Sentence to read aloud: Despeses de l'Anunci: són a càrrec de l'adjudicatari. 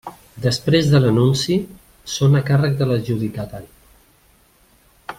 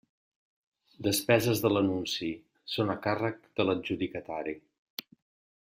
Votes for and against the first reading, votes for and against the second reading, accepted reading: 0, 2, 3, 0, second